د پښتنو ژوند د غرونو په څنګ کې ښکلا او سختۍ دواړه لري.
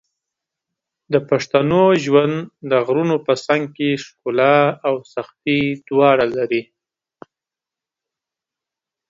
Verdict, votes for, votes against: accepted, 2, 0